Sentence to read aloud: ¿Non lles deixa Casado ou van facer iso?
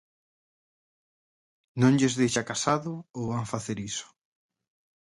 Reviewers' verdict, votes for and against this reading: accepted, 4, 0